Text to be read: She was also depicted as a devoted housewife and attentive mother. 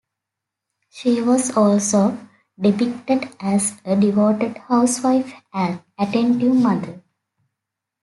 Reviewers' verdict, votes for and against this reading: accepted, 2, 0